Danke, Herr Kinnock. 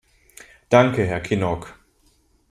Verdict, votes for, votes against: accepted, 2, 0